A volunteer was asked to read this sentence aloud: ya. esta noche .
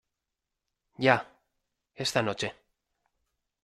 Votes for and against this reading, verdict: 2, 0, accepted